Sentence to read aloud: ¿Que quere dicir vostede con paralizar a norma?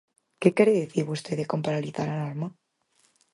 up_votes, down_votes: 0, 4